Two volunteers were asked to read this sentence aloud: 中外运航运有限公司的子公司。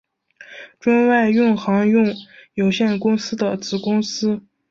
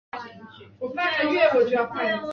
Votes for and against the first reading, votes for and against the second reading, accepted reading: 2, 0, 2, 4, first